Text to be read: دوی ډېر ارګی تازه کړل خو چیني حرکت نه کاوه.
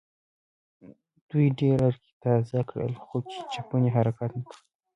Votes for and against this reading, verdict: 1, 2, rejected